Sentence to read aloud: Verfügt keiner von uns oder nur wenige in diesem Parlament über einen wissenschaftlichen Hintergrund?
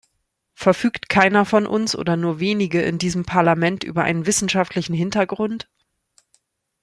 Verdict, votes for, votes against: accepted, 2, 0